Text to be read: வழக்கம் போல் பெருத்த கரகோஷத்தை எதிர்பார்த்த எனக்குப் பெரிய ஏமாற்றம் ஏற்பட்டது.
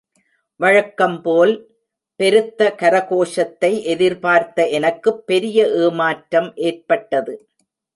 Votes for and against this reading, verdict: 0, 2, rejected